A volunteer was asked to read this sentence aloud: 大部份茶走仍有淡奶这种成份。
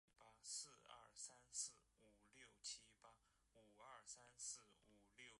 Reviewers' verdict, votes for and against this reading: rejected, 2, 3